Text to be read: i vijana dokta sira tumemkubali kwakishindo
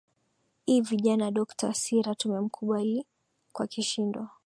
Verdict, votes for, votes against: accepted, 3, 0